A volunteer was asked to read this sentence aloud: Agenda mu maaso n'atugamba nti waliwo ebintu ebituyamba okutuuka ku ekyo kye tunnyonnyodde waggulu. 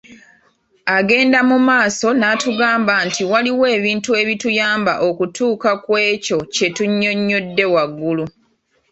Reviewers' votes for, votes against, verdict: 2, 1, accepted